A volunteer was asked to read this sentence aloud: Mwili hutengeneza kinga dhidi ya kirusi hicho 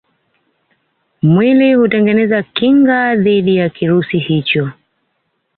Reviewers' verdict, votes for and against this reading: accepted, 2, 0